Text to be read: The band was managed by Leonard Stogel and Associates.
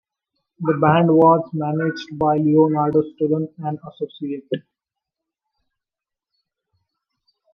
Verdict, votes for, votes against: rejected, 0, 2